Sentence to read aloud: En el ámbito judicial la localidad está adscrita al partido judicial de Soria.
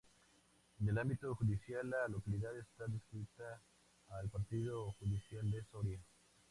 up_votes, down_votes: 2, 0